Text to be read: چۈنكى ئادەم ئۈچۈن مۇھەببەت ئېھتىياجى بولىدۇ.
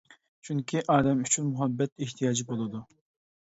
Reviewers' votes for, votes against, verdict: 2, 0, accepted